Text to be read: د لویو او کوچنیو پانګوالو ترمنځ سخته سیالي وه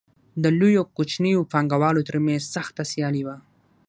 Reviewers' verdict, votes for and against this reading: accepted, 6, 0